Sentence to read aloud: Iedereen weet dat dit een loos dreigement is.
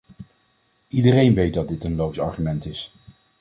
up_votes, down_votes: 0, 2